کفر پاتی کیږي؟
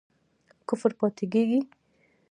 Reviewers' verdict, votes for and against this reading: rejected, 1, 2